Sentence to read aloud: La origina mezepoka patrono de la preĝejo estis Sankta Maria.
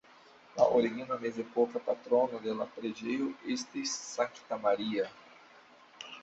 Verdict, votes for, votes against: accepted, 2, 1